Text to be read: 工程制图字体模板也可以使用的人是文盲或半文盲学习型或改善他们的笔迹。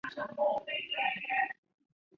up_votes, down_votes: 0, 3